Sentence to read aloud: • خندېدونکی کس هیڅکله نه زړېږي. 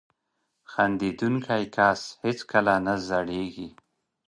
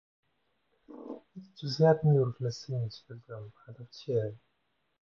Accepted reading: first